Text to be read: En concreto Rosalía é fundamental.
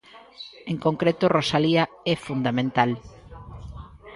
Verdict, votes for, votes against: accepted, 2, 0